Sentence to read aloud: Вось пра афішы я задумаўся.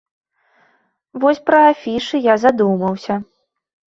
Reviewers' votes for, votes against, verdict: 2, 0, accepted